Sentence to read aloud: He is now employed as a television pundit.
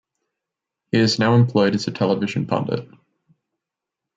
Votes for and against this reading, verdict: 2, 0, accepted